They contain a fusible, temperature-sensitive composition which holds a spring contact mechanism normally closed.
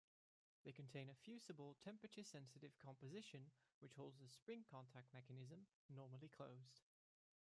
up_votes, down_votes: 1, 2